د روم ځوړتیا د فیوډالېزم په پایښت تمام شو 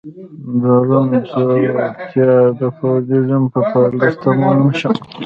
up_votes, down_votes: 1, 2